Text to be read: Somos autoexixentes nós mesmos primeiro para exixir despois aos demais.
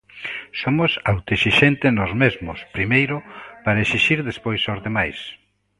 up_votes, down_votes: 2, 0